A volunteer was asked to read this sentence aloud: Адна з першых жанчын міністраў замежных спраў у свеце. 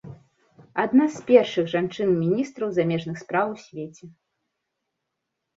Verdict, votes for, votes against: accepted, 2, 1